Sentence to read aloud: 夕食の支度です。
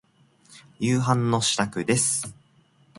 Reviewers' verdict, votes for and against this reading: rejected, 1, 2